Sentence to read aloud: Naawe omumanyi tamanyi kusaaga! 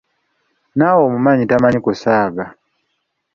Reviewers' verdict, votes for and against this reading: accepted, 2, 0